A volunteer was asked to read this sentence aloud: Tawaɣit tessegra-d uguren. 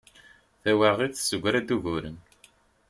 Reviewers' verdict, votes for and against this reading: accepted, 2, 0